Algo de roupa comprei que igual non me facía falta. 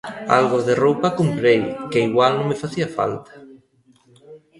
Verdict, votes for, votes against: rejected, 1, 2